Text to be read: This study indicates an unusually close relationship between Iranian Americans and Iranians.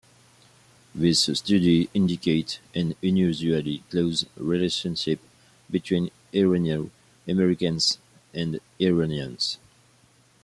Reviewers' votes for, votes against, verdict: 1, 2, rejected